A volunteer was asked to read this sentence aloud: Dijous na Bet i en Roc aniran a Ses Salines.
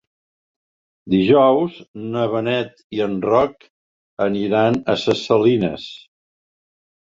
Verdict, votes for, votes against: rejected, 0, 2